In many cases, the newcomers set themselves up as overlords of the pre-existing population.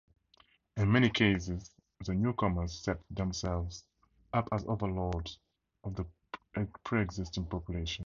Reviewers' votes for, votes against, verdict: 4, 0, accepted